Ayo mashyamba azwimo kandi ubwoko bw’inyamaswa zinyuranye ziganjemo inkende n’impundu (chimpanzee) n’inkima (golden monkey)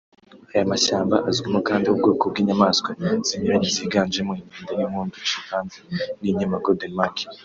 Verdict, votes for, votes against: rejected, 1, 2